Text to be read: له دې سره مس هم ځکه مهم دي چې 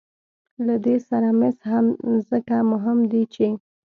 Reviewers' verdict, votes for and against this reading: accepted, 2, 0